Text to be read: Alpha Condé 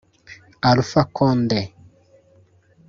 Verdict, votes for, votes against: rejected, 1, 2